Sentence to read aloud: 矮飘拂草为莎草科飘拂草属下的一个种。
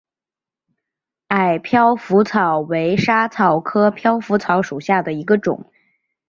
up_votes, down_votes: 4, 0